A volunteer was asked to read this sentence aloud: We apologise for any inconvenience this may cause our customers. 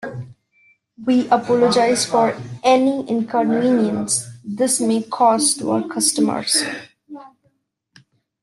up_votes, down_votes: 0, 2